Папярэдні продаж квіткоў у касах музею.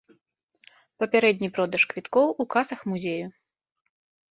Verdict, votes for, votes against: accepted, 2, 0